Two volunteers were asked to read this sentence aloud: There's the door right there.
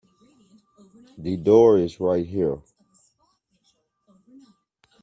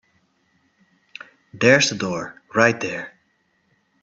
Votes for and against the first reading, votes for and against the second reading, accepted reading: 1, 2, 2, 0, second